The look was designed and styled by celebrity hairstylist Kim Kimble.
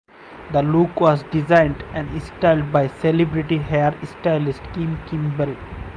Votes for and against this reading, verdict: 4, 0, accepted